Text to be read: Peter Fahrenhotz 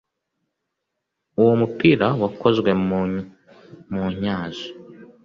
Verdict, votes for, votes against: rejected, 0, 2